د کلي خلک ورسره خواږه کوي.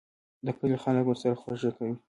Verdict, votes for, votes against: rejected, 0, 2